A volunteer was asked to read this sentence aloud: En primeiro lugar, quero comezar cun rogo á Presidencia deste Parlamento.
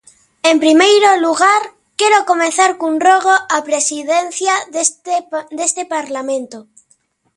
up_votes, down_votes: 1, 2